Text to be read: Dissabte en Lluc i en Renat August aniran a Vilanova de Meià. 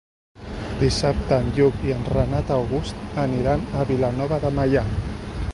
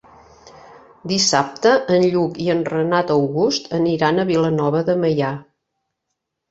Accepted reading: second